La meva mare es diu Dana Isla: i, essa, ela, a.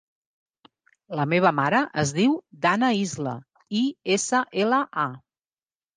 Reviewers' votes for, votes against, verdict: 2, 0, accepted